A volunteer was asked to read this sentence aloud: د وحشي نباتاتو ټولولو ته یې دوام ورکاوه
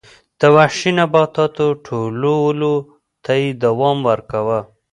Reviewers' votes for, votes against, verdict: 4, 0, accepted